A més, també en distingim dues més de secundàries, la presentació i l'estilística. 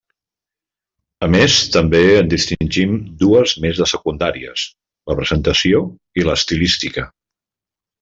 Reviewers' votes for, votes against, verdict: 3, 0, accepted